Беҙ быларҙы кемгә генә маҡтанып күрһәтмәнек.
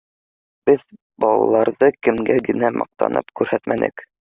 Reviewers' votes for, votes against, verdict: 0, 2, rejected